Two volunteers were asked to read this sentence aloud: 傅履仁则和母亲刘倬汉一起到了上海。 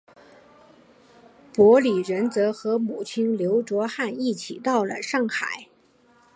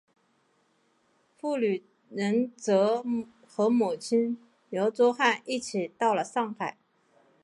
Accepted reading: first